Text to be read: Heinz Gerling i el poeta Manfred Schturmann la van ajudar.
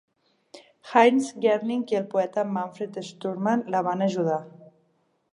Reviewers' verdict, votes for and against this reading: accepted, 3, 0